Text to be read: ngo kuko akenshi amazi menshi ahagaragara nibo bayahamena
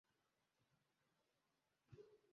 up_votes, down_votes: 0, 2